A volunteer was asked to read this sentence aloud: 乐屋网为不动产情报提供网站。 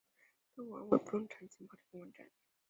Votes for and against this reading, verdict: 0, 2, rejected